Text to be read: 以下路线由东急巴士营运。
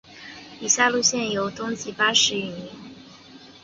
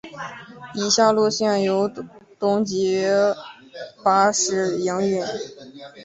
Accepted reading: first